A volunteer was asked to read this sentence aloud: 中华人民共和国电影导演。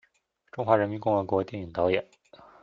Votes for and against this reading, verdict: 2, 0, accepted